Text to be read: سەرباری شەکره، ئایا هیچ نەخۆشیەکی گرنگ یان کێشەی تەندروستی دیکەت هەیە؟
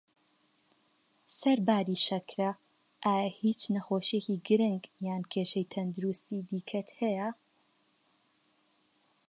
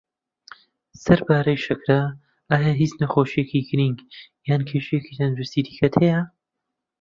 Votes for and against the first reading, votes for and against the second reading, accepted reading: 2, 0, 0, 2, first